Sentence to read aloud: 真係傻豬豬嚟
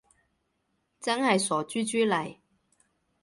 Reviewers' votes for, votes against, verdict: 2, 0, accepted